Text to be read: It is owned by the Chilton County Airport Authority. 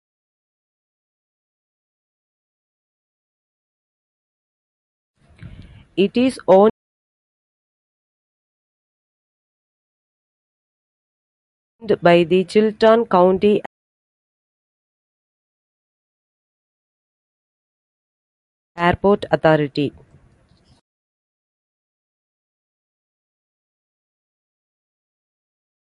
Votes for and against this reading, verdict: 0, 2, rejected